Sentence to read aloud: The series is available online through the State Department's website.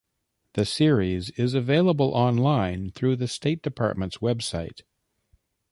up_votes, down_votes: 2, 1